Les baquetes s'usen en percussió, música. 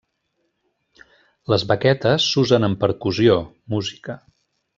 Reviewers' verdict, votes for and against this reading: rejected, 1, 2